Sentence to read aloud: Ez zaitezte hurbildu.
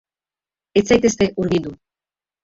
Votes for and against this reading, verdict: 1, 3, rejected